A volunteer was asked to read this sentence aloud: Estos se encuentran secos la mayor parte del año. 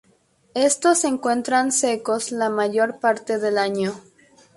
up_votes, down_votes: 2, 0